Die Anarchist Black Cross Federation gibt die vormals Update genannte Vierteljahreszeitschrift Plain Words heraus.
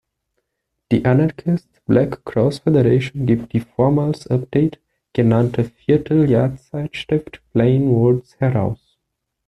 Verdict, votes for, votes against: rejected, 1, 2